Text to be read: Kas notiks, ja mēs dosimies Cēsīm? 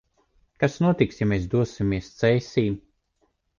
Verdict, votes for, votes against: accepted, 2, 0